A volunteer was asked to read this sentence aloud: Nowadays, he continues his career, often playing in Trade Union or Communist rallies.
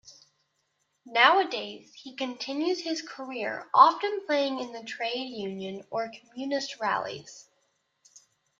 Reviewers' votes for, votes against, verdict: 1, 2, rejected